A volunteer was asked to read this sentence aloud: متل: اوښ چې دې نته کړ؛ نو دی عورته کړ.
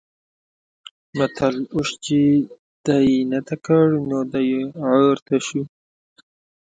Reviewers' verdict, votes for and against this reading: rejected, 0, 2